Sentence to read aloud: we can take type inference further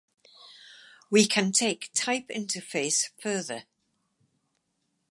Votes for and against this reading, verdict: 2, 2, rejected